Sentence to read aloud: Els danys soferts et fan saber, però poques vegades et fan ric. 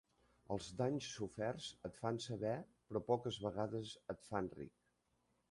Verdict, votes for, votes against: rejected, 0, 2